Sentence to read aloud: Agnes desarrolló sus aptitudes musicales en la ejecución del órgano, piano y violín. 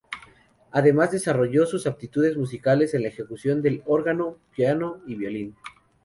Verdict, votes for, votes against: rejected, 0, 4